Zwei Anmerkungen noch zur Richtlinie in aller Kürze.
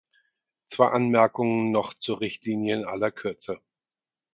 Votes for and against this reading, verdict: 4, 0, accepted